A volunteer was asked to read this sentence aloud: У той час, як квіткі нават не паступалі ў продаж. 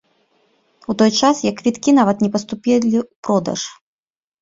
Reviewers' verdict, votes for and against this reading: rejected, 1, 2